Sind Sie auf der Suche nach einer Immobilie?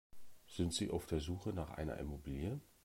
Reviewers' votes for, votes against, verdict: 2, 0, accepted